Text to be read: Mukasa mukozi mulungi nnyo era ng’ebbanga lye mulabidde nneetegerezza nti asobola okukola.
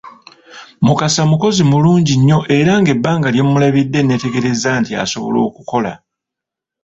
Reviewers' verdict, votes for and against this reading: accepted, 2, 0